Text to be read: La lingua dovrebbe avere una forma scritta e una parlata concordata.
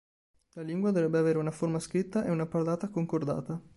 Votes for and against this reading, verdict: 4, 0, accepted